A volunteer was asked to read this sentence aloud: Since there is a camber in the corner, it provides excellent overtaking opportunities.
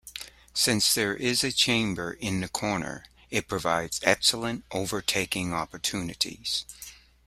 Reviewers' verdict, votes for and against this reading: rejected, 1, 2